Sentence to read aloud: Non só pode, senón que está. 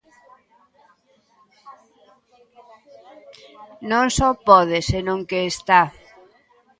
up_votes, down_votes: 2, 0